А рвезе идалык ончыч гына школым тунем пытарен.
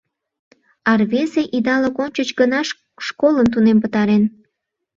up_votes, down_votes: 1, 2